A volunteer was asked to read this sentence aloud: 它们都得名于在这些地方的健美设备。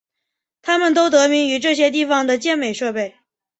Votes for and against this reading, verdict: 2, 0, accepted